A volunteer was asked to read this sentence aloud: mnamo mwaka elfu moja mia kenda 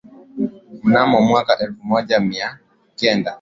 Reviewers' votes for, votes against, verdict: 2, 0, accepted